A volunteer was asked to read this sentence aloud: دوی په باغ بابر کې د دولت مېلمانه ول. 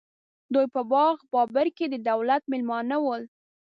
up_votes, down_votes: 2, 0